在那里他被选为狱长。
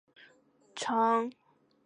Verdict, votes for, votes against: rejected, 2, 2